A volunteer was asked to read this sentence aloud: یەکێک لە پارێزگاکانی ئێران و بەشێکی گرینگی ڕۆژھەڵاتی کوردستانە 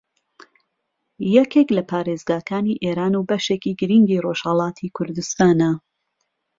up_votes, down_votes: 2, 0